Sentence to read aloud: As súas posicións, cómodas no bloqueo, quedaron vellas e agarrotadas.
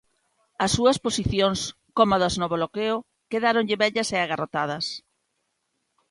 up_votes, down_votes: 0, 2